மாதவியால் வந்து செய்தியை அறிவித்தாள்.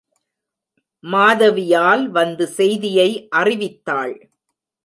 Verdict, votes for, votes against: rejected, 0, 2